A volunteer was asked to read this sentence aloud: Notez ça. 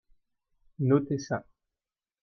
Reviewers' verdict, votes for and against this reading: accepted, 2, 0